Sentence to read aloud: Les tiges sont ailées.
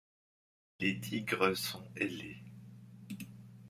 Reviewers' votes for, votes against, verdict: 2, 1, accepted